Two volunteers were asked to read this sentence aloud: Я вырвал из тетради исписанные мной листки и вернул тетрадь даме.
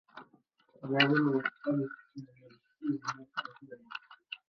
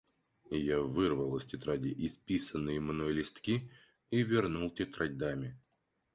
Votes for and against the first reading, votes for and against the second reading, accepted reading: 0, 2, 4, 0, second